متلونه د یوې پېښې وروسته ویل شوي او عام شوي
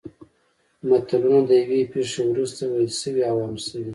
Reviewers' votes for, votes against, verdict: 2, 0, accepted